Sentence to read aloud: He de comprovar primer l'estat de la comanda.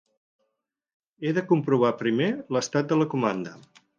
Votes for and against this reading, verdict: 4, 0, accepted